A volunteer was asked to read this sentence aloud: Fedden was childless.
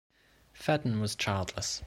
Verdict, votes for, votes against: accepted, 2, 0